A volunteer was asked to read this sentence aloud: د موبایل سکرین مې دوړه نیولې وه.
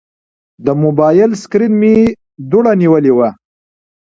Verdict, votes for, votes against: accepted, 2, 1